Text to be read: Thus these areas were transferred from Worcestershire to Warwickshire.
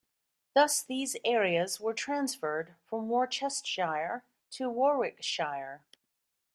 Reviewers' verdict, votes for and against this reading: rejected, 1, 2